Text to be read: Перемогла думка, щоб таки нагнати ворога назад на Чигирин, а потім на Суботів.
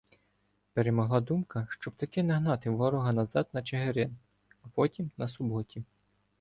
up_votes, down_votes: 2, 0